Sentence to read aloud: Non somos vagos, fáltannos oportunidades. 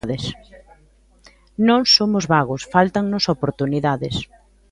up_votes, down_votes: 1, 2